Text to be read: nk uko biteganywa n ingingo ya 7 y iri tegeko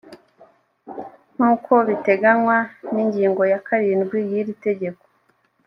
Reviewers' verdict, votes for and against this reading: rejected, 0, 2